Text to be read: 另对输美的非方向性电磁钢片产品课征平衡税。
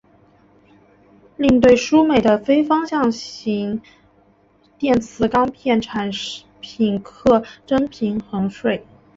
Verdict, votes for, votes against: rejected, 1, 2